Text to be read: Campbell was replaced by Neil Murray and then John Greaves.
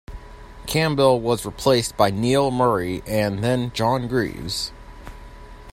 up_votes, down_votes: 2, 0